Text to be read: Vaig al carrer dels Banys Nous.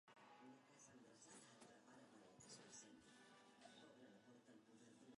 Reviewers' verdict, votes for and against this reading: rejected, 0, 2